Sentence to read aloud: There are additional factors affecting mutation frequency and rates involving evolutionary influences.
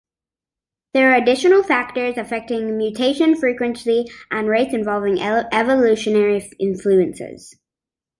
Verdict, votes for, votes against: accepted, 2, 1